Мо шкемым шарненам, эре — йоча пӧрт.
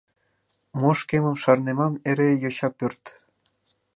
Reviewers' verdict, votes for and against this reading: rejected, 1, 2